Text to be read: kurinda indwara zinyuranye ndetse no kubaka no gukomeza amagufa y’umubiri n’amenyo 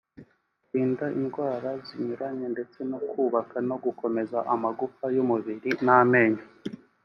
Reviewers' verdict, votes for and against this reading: accepted, 2, 0